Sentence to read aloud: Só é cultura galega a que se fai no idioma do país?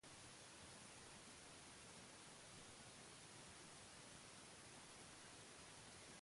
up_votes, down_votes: 0, 2